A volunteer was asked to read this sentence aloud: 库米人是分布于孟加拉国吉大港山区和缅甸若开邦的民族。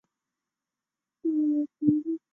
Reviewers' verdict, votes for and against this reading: rejected, 0, 3